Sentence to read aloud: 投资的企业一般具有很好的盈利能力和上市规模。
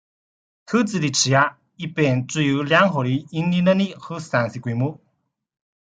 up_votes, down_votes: 0, 2